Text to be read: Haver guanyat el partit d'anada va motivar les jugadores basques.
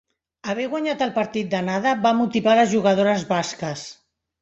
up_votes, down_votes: 2, 0